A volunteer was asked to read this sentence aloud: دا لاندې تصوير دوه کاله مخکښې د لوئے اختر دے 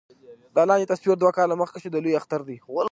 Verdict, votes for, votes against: accepted, 2, 0